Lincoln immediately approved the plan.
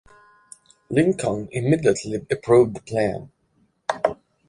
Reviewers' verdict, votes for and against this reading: accepted, 2, 0